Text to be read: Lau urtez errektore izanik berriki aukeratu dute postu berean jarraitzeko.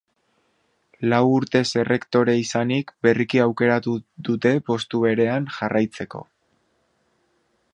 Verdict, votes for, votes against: rejected, 1, 2